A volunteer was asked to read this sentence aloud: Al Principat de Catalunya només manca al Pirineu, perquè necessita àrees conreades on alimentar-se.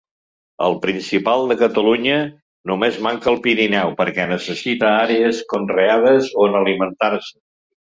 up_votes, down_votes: 1, 2